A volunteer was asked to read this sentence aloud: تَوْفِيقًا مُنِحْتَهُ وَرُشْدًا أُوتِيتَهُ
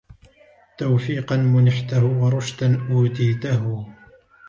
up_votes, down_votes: 2, 0